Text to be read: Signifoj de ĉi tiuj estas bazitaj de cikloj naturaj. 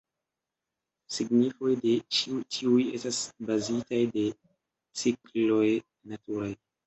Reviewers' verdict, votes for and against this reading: accepted, 2, 0